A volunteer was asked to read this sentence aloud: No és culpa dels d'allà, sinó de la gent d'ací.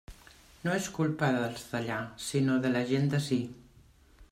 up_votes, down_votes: 2, 0